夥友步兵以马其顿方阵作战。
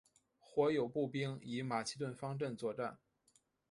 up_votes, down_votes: 2, 0